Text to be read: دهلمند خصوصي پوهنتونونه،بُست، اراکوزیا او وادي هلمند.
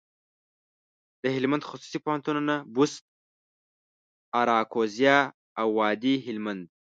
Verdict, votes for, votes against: rejected, 1, 2